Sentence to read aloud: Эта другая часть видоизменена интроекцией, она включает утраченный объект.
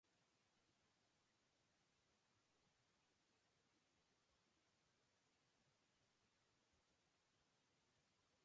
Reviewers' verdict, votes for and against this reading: rejected, 0, 2